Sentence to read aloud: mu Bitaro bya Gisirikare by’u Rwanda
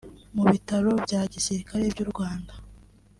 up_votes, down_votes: 3, 0